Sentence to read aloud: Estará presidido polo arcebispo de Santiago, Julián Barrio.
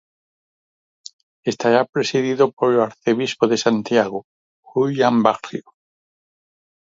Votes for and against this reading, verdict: 2, 4, rejected